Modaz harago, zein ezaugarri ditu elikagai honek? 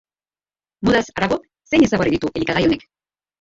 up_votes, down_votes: 0, 3